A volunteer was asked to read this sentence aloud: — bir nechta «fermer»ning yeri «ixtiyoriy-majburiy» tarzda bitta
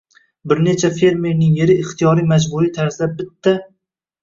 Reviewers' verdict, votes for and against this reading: rejected, 1, 2